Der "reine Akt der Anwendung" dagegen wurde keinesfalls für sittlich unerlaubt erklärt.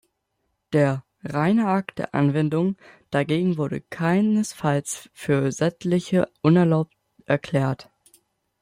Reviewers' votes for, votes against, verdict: 0, 2, rejected